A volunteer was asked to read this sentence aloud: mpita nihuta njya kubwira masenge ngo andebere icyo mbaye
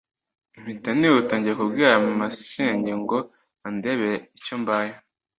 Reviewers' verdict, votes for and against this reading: accepted, 2, 0